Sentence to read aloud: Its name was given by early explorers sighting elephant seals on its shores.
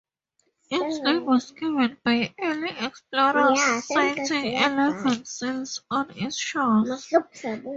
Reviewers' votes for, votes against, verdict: 2, 2, rejected